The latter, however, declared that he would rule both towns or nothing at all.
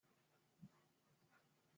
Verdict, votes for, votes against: rejected, 0, 2